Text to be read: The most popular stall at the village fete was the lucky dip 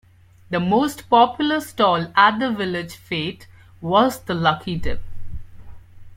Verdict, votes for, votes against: accepted, 2, 0